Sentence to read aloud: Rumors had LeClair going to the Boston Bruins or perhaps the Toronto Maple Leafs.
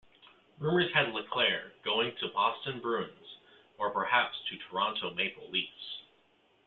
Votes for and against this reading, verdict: 1, 2, rejected